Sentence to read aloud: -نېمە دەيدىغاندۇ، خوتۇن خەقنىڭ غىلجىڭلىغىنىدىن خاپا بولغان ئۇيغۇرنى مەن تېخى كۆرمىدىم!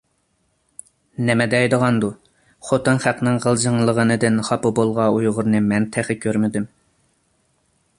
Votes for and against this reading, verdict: 2, 1, accepted